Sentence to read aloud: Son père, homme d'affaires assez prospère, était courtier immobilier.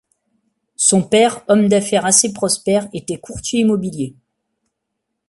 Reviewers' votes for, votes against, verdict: 2, 0, accepted